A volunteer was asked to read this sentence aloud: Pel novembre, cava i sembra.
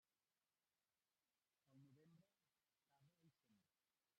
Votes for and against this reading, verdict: 0, 2, rejected